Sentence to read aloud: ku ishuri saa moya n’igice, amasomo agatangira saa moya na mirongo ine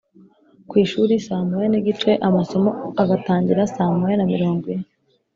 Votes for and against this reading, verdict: 4, 0, accepted